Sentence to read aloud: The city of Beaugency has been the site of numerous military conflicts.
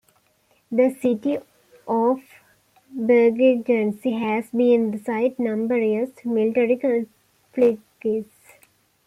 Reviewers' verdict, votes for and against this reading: rejected, 0, 2